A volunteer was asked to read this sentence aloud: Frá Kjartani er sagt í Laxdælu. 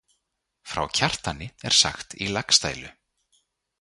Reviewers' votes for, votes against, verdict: 2, 0, accepted